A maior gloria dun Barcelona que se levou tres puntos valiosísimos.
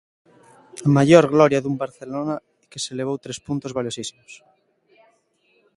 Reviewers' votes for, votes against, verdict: 1, 2, rejected